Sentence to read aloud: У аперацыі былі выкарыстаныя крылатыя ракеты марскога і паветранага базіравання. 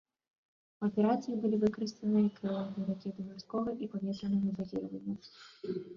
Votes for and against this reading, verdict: 0, 2, rejected